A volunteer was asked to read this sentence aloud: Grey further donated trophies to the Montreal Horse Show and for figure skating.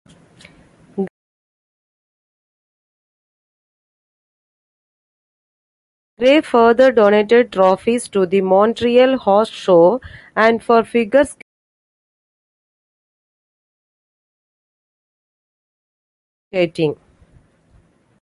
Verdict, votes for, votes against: rejected, 1, 2